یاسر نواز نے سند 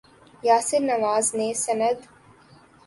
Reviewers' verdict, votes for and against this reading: accepted, 2, 0